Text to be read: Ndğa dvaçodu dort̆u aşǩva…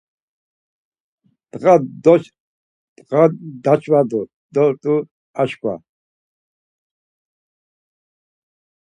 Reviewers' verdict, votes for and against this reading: rejected, 0, 4